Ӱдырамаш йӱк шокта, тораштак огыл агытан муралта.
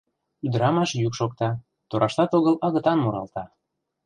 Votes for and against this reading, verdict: 1, 2, rejected